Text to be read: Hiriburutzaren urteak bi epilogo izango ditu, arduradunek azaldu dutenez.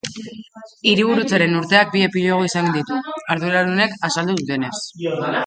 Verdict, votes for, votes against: rejected, 1, 2